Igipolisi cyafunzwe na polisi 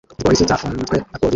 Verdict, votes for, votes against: rejected, 0, 2